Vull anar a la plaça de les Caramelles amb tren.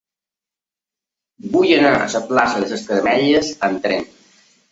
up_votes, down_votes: 1, 2